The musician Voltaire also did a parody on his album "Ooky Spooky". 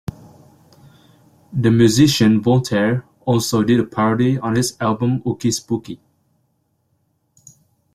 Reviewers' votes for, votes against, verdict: 2, 0, accepted